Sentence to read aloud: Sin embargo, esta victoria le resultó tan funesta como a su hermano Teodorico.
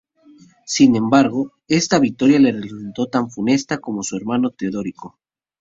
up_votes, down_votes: 0, 2